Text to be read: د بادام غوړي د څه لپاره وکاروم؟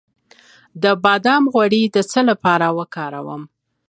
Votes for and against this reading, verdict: 2, 0, accepted